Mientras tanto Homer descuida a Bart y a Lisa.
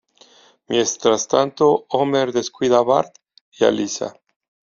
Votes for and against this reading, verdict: 0, 2, rejected